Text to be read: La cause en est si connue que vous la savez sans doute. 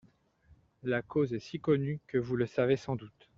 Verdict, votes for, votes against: rejected, 0, 2